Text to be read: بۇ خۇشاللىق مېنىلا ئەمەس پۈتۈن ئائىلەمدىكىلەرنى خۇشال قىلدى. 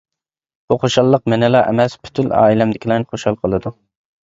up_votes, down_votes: 0, 2